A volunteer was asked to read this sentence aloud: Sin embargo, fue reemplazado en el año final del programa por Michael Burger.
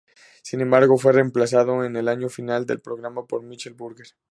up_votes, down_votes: 4, 0